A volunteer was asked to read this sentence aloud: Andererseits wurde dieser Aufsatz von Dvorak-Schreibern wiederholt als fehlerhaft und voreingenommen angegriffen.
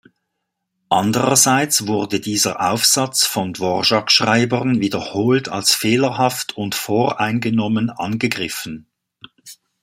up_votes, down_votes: 2, 1